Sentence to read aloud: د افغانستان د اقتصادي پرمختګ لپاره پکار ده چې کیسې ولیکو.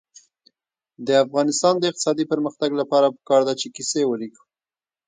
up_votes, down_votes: 2, 0